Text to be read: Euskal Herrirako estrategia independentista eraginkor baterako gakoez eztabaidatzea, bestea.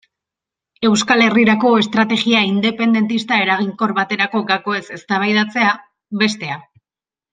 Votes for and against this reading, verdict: 2, 0, accepted